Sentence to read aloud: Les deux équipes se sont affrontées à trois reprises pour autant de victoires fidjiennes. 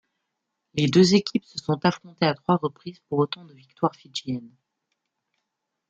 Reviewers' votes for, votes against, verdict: 0, 2, rejected